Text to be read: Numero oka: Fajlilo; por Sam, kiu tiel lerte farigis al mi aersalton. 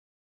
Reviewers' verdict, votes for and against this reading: rejected, 0, 2